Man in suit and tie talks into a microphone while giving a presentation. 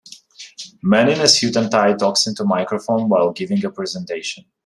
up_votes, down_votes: 0, 2